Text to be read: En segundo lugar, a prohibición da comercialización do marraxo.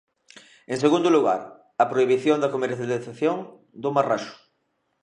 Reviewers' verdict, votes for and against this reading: rejected, 0, 2